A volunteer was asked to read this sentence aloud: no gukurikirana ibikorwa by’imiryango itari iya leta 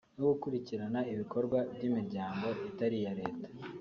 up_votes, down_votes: 0, 2